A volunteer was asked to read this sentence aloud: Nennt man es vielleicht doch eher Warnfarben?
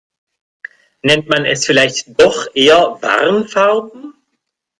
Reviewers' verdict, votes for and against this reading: accepted, 2, 0